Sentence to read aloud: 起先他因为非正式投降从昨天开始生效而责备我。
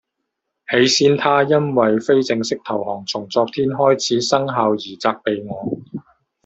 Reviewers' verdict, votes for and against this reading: rejected, 0, 2